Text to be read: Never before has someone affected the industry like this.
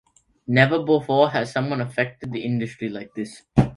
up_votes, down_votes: 2, 0